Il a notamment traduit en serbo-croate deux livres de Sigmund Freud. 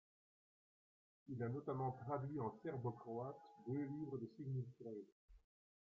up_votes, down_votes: 1, 2